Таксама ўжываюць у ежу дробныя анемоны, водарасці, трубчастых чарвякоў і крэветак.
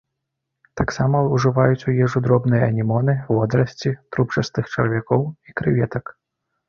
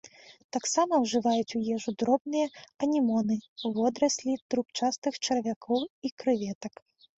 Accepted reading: first